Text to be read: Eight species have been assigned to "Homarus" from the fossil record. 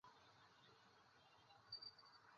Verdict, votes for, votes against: rejected, 0, 3